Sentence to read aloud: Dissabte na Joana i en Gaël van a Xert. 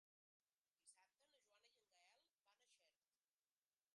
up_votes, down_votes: 1, 2